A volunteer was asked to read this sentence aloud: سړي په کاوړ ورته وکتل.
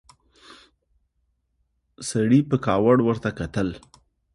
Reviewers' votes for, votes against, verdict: 2, 0, accepted